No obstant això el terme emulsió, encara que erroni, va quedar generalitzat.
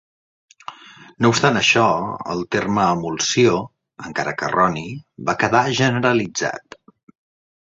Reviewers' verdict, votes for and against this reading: accepted, 2, 0